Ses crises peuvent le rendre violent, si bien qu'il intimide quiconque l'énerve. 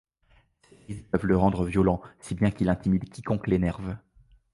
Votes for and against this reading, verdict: 0, 2, rejected